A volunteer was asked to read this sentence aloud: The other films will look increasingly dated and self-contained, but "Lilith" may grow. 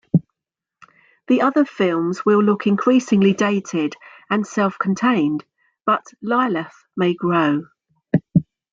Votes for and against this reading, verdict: 2, 0, accepted